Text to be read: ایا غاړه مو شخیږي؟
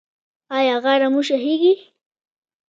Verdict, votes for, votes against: rejected, 1, 2